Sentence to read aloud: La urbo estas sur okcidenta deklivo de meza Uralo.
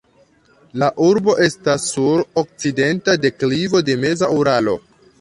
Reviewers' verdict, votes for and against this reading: accepted, 3, 2